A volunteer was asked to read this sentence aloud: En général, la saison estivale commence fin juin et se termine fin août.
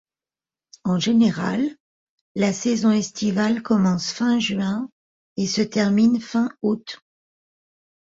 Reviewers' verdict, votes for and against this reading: accepted, 2, 0